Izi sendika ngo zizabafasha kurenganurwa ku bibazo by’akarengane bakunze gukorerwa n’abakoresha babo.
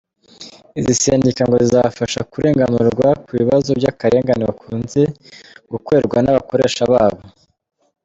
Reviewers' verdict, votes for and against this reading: accepted, 2, 1